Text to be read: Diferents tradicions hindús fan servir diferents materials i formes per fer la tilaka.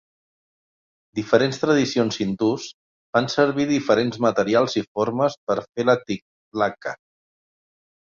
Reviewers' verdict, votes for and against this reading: rejected, 2, 4